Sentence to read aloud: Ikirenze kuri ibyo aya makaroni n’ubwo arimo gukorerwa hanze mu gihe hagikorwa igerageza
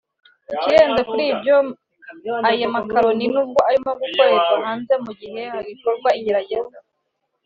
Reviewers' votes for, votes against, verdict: 2, 0, accepted